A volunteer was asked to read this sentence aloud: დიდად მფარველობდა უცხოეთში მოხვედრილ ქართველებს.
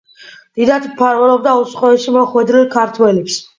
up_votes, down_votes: 2, 0